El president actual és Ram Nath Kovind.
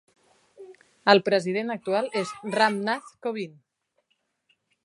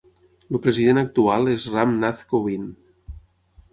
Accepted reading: first